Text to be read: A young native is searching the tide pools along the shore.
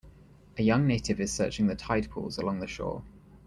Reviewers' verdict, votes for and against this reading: accepted, 2, 0